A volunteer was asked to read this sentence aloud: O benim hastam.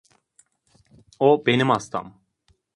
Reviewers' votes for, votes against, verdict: 2, 0, accepted